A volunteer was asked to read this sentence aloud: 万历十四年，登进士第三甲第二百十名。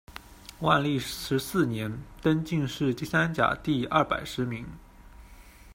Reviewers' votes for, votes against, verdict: 2, 1, accepted